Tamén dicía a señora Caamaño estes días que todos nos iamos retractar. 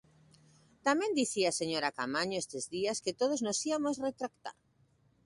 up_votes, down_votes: 0, 2